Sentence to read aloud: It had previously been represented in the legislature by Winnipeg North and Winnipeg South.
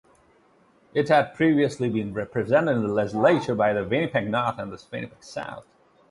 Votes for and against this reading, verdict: 2, 0, accepted